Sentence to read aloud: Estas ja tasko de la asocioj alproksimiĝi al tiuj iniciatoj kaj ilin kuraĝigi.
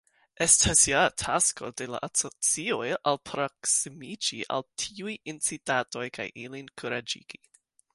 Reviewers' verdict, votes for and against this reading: rejected, 1, 2